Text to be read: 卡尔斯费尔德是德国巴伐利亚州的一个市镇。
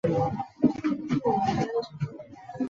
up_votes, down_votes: 1, 2